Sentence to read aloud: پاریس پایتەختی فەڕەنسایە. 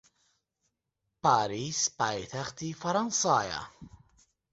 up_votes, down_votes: 6, 0